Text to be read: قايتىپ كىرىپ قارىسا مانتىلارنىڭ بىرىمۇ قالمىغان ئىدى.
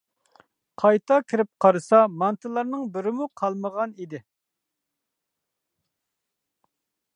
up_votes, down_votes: 1, 2